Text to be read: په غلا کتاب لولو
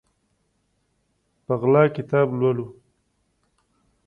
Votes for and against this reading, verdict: 2, 0, accepted